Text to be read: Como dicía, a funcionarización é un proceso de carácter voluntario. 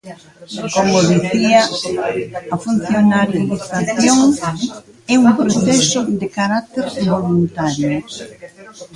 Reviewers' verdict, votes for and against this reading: rejected, 0, 3